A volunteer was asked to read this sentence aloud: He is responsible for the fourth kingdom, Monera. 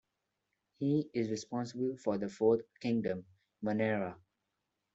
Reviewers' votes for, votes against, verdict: 2, 0, accepted